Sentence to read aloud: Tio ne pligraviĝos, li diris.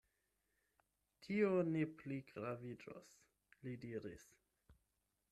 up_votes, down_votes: 8, 0